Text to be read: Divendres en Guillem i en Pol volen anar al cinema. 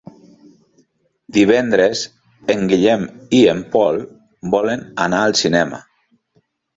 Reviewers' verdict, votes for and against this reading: accepted, 3, 0